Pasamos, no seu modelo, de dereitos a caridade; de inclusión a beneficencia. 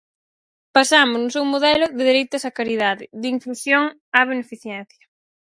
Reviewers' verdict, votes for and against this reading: accepted, 4, 2